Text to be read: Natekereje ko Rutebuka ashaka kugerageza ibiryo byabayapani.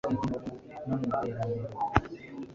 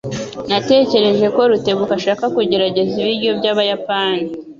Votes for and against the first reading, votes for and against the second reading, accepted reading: 1, 2, 2, 0, second